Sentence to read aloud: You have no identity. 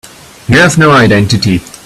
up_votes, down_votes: 0, 2